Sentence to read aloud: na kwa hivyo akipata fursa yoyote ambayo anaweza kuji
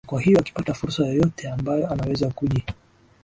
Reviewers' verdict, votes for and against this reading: rejected, 0, 2